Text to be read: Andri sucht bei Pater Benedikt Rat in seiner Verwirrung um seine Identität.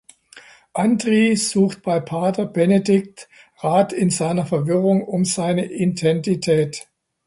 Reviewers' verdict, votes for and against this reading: rejected, 1, 2